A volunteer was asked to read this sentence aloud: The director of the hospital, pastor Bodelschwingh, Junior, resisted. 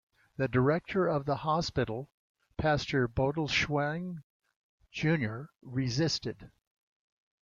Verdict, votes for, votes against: accepted, 2, 1